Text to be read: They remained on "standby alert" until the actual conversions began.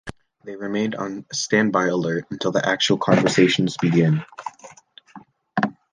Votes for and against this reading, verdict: 0, 3, rejected